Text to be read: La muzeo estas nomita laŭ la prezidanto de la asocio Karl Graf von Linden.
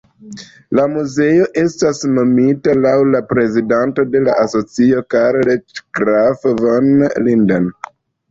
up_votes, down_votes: 2, 0